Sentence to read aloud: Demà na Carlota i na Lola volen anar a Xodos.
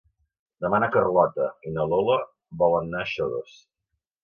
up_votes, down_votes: 2, 0